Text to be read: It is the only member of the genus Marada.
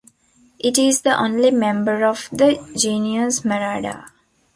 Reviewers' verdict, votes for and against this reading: rejected, 0, 2